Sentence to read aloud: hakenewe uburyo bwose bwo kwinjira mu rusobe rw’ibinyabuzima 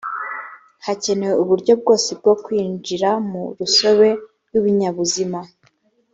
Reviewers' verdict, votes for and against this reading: accepted, 3, 1